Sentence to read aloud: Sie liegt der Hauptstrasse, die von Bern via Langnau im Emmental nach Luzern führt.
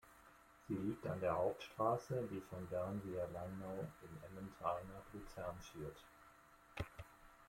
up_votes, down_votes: 0, 2